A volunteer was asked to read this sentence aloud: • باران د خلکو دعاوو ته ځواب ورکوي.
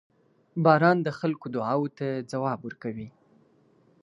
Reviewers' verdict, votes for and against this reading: accepted, 2, 0